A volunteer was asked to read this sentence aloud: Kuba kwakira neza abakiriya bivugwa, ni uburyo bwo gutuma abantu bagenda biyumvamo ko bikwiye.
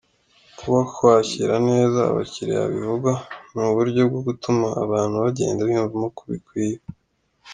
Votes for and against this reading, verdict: 2, 0, accepted